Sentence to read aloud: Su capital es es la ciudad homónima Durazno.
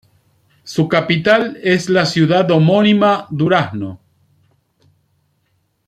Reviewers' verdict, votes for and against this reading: accepted, 2, 0